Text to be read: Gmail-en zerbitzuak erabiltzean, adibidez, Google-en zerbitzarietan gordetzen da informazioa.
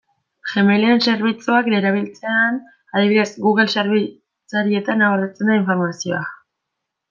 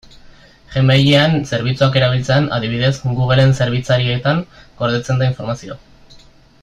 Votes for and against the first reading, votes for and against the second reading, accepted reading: 1, 2, 3, 1, second